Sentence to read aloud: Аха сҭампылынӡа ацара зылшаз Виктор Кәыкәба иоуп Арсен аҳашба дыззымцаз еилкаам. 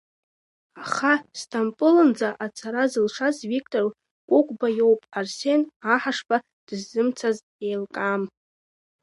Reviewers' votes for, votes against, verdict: 2, 0, accepted